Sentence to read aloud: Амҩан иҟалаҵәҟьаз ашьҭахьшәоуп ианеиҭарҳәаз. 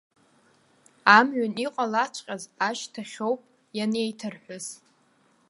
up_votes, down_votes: 2, 1